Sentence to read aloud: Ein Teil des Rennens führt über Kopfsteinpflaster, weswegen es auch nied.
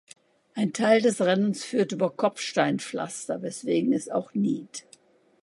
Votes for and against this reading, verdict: 2, 0, accepted